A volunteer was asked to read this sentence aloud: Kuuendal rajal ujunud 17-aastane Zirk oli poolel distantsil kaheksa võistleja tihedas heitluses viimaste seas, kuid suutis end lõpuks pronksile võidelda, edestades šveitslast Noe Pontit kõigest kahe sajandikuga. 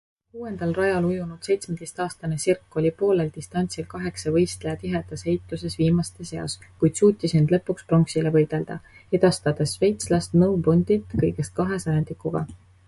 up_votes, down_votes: 0, 2